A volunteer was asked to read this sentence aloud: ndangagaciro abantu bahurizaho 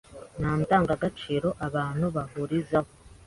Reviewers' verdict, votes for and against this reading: accepted, 2, 0